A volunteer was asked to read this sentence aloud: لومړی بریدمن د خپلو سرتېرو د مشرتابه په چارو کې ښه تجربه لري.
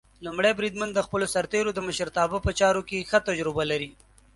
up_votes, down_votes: 2, 0